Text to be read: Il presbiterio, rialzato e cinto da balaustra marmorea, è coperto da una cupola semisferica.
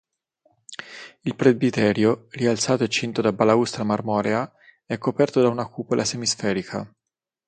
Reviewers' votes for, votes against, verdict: 3, 3, rejected